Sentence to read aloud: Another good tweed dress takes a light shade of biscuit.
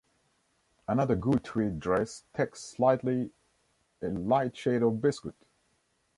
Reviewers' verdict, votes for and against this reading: rejected, 0, 2